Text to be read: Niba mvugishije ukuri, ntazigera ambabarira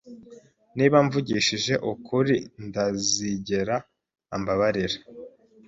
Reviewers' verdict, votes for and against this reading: rejected, 0, 3